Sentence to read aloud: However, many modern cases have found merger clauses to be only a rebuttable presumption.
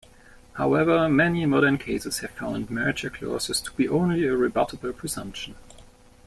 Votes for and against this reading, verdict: 2, 3, rejected